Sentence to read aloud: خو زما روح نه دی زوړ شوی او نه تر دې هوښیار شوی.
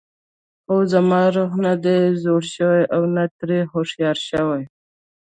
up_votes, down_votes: 0, 2